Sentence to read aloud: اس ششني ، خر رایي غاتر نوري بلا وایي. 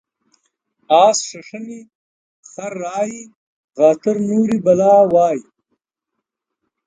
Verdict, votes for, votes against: accepted, 2, 0